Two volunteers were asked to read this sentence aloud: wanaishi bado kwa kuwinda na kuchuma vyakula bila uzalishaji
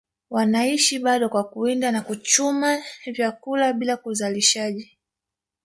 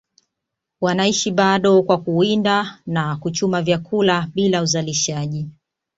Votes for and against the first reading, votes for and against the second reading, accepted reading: 2, 1, 1, 2, first